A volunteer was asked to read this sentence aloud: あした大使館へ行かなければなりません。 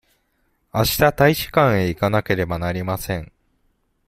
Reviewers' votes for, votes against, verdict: 2, 0, accepted